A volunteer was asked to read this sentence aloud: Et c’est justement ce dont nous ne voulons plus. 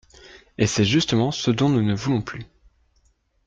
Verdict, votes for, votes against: accepted, 2, 0